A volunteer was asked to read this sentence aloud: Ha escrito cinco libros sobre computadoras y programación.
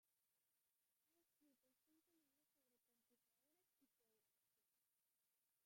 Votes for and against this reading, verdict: 0, 2, rejected